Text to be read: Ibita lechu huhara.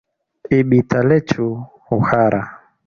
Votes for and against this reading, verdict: 2, 1, accepted